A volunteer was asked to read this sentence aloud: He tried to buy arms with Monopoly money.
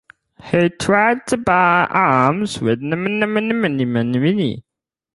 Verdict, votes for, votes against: rejected, 0, 4